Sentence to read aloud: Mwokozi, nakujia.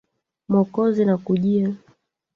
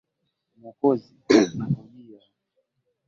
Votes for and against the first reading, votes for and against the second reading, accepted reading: 2, 1, 0, 2, first